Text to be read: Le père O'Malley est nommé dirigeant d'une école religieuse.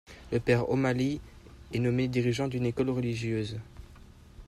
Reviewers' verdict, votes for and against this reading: accepted, 2, 0